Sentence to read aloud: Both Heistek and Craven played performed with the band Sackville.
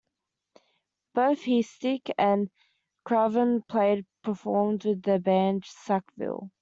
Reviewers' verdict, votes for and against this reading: accepted, 2, 1